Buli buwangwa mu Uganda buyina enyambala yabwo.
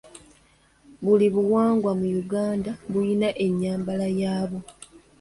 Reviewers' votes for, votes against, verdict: 2, 0, accepted